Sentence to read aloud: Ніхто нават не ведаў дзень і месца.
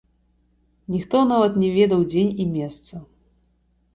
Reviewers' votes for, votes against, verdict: 2, 1, accepted